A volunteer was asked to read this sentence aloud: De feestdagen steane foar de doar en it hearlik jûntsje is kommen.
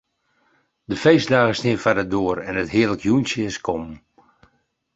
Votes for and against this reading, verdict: 2, 2, rejected